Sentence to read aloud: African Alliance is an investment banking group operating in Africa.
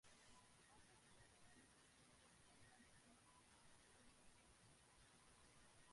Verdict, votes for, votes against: rejected, 1, 2